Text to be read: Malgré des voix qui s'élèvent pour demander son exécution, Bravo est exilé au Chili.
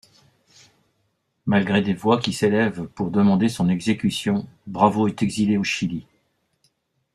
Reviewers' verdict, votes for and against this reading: accepted, 2, 0